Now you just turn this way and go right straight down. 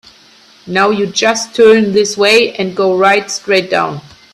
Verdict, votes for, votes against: rejected, 0, 2